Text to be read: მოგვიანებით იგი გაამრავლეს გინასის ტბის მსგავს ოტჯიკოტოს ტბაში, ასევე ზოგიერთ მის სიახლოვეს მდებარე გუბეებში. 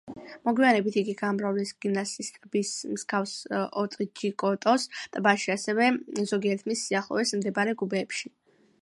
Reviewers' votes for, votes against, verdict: 2, 0, accepted